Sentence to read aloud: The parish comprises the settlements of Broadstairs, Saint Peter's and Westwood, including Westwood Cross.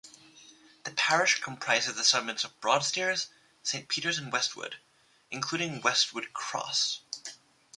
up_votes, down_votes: 2, 0